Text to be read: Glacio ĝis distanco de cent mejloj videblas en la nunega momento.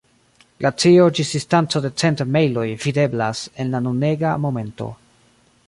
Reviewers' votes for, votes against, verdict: 0, 2, rejected